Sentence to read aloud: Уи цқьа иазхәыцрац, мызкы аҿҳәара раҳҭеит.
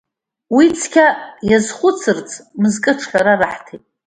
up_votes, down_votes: 1, 2